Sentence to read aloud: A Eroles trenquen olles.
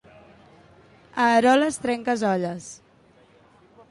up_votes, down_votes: 1, 2